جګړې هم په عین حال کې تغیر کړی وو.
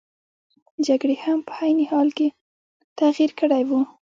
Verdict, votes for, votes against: rejected, 0, 2